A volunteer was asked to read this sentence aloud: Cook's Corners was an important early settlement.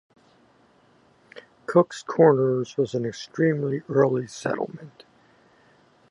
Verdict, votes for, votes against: rejected, 0, 2